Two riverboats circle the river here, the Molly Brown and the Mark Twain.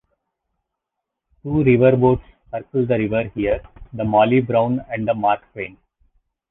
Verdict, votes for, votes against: rejected, 0, 2